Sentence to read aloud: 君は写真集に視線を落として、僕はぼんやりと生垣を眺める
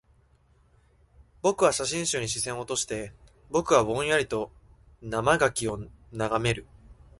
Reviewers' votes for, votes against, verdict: 0, 2, rejected